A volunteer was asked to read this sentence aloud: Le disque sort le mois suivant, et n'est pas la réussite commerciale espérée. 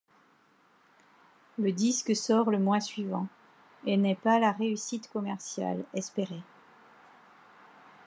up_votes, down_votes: 1, 2